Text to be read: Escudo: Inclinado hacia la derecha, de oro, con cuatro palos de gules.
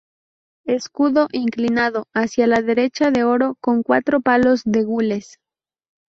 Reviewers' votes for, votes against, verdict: 0, 2, rejected